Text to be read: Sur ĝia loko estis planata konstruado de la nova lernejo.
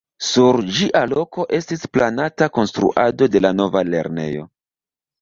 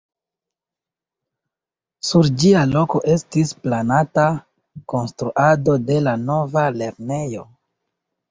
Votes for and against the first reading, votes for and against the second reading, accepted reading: 1, 2, 2, 1, second